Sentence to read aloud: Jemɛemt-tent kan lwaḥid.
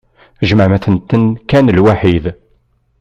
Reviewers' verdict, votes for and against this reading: rejected, 1, 2